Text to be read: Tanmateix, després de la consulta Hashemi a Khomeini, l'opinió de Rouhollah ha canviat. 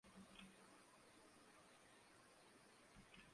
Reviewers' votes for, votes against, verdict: 0, 2, rejected